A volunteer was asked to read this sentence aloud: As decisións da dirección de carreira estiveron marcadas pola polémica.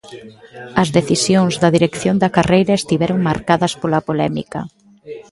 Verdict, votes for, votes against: rejected, 0, 2